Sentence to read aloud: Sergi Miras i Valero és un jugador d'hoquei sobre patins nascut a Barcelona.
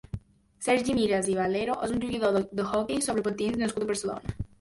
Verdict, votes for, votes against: rejected, 0, 2